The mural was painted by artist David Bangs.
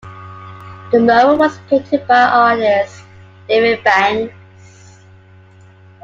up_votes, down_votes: 0, 2